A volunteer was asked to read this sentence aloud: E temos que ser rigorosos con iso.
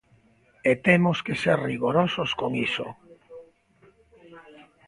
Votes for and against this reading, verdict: 2, 0, accepted